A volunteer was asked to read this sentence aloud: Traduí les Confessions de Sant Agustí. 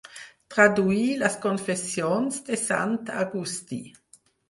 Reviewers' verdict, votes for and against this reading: accepted, 4, 0